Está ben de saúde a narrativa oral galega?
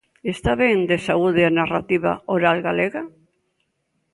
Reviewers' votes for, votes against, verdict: 3, 0, accepted